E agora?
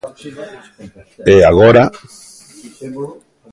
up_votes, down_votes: 2, 0